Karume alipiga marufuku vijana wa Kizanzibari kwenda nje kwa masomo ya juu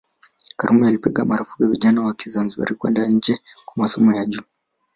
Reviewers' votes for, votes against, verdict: 3, 1, accepted